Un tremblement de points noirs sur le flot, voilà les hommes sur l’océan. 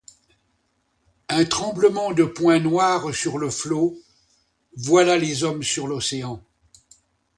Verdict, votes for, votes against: accepted, 2, 0